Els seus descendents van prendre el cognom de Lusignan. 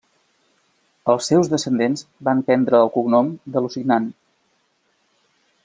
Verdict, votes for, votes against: accepted, 2, 0